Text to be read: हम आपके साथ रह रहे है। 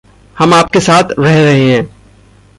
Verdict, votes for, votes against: accepted, 2, 0